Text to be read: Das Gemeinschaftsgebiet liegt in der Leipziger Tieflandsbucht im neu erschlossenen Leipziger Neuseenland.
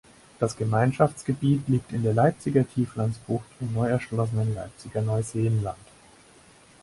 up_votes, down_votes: 4, 0